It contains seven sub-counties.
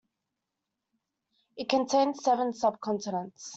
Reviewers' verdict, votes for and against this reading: rejected, 1, 2